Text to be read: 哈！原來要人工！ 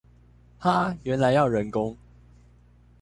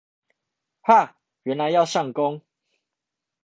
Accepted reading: first